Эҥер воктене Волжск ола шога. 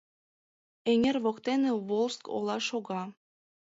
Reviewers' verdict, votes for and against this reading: accepted, 2, 0